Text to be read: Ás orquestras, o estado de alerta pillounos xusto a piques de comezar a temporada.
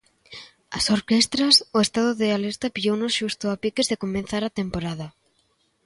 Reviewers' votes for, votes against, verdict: 0, 2, rejected